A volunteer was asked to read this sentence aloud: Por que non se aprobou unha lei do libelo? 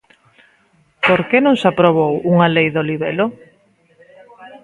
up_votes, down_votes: 0, 2